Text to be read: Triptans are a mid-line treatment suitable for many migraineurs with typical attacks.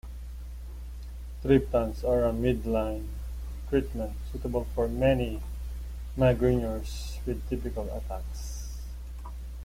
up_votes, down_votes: 0, 2